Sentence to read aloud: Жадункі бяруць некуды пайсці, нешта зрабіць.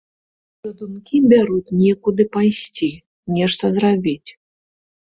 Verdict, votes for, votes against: rejected, 1, 2